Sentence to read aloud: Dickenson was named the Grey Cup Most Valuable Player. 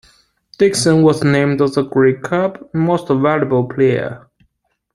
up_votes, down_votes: 0, 2